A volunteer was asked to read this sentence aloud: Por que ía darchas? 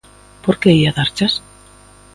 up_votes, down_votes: 2, 0